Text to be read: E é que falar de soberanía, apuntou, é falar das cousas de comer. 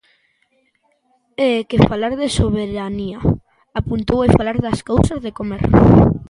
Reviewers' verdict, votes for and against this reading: accepted, 3, 0